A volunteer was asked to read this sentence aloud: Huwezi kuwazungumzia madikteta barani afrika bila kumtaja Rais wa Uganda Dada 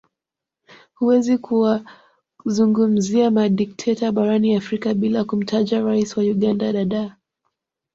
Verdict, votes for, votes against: rejected, 1, 2